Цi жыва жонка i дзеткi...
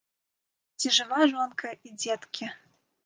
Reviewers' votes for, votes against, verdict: 1, 2, rejected